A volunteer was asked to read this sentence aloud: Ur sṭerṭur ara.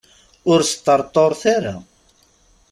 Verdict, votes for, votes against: rejected, 1, 2